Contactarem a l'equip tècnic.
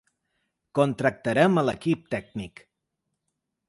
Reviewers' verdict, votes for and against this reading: rejected, 0, 2